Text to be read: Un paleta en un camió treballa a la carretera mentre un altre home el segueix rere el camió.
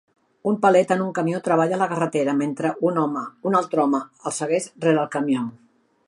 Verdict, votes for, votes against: rejected, 0, 2